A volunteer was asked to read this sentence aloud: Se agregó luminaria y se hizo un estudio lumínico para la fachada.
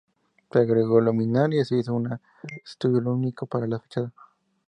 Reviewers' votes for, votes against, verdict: 2, 0, accepted